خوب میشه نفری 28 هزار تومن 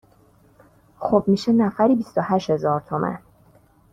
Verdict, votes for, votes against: rejected, 0, 2